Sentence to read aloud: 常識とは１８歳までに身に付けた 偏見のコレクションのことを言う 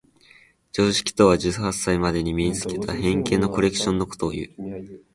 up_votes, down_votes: 0, 2